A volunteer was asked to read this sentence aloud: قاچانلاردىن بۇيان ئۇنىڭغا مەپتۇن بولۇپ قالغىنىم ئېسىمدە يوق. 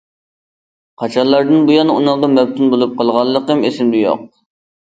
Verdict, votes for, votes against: rejected, 1, 2